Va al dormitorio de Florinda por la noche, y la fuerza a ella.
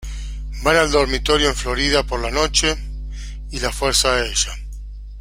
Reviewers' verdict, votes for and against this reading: rejected, 1, 2